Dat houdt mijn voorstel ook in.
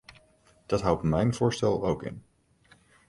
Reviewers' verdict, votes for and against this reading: accepted, 2, 0